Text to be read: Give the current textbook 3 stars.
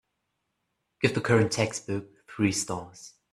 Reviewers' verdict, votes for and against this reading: rejected, 0, 2